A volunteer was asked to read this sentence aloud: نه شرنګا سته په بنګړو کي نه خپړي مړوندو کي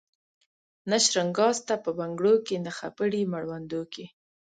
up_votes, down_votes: 2, 0